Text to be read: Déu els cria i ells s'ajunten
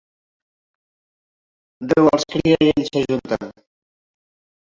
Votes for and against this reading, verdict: 1, 4, rejected